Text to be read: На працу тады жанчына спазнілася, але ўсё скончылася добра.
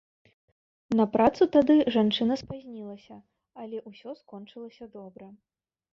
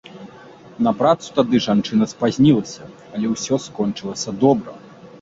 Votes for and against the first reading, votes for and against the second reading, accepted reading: 1, 2, 2, 0, second